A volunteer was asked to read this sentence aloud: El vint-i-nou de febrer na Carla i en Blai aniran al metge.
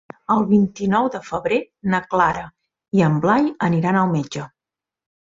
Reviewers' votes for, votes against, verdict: 1, 2, rejected